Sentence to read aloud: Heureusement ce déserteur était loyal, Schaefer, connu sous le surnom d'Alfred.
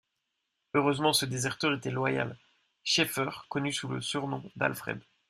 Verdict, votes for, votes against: accepted, 2, 0